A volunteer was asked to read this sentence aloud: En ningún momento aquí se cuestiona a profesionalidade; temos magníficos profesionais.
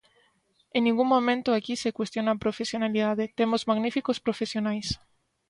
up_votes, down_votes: 2, 0